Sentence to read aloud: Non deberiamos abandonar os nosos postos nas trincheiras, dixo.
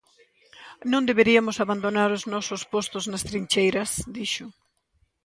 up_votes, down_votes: 1, 2